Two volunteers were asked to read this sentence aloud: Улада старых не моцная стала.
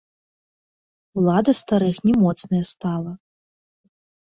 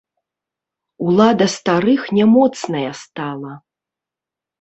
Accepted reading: second